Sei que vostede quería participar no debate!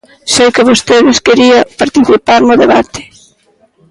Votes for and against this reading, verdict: 0, 2, rejected